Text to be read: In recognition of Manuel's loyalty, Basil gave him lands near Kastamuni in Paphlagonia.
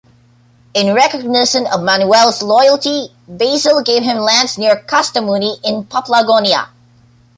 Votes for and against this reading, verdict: 2, 0, accepted